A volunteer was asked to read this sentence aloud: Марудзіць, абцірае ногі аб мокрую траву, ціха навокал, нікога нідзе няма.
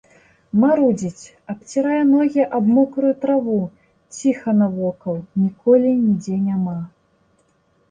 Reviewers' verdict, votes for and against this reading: rejected, 0, 2